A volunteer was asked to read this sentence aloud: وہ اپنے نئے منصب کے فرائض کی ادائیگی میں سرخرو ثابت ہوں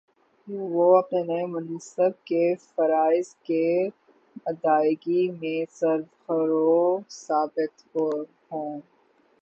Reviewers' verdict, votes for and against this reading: rejected, 0, 6